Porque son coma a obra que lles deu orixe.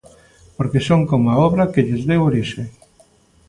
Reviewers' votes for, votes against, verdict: 2, 0, accepted